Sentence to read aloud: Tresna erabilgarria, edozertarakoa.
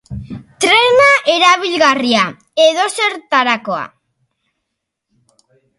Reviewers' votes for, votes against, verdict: 1, 2, rejected